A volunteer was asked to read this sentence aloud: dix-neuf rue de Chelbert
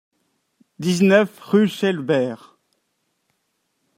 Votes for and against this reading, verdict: 0, 2, rejected